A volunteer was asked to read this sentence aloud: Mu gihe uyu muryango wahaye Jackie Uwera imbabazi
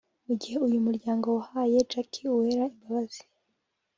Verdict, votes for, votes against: accepted, 2, 0